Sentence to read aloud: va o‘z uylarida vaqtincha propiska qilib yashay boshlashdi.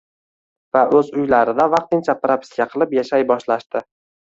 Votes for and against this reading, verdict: 0, 2, rejected